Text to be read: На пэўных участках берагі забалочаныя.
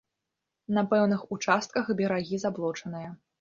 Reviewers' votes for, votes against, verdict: 1, 2, rejected